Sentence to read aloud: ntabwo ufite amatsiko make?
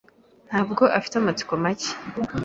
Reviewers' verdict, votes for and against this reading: rejected, 0, 2